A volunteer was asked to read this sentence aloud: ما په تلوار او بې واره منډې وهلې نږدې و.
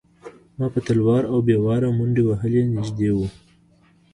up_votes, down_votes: 0, 2